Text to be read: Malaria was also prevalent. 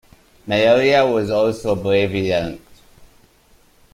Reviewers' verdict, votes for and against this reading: rejected, 1, 2